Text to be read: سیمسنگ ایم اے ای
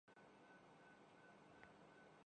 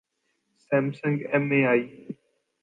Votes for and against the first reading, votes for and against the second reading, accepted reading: 0, 4, 2, 1, second